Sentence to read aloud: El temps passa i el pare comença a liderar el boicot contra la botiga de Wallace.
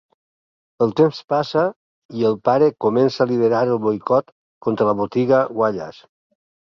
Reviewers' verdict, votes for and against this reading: rejected, 4, 6